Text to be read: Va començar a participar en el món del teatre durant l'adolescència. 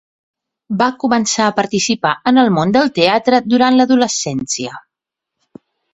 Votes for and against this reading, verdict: 2, 0, accepted